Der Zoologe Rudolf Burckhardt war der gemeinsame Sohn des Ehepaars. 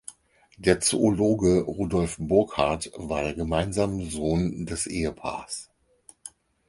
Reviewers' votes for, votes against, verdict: 0, 4, rejected